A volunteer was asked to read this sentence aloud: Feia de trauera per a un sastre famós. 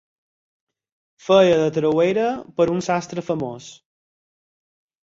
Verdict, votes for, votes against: accepted, 8, 0